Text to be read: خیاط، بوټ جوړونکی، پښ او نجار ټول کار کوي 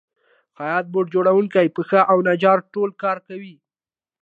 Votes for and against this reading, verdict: 2, 0, accepted